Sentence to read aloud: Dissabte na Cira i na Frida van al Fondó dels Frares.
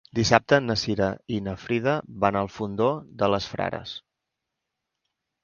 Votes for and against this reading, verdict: 0, 2, rejected